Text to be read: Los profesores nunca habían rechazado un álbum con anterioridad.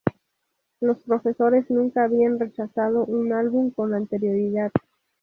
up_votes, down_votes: 0, 2